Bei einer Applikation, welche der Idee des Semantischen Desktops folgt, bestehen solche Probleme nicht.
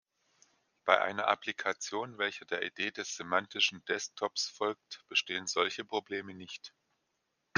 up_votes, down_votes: 2, 0